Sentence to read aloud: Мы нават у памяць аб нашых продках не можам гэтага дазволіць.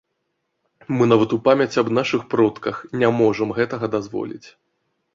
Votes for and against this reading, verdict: 2, 0, accepted